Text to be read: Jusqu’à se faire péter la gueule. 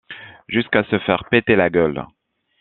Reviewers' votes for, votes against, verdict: 2, 0, accepted